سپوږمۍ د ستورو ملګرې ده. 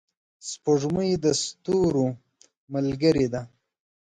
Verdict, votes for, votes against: accepted, 2, 0